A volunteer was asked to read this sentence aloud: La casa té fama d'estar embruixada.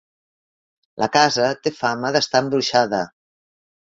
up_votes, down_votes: 2, 0